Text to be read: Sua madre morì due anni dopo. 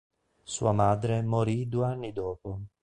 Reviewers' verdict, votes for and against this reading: accepted, 2, 0